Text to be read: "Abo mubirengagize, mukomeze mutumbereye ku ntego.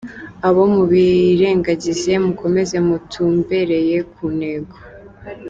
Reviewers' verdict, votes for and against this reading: rejected, 1, 2